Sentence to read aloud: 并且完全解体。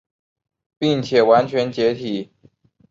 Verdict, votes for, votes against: accepted, 4, 0